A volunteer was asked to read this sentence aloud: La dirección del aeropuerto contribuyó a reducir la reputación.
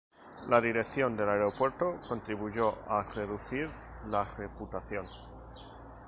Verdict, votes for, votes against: accepted, 2, 0